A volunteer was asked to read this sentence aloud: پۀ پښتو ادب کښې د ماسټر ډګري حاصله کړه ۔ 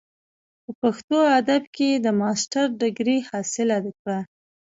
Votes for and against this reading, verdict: 1, 2, rejected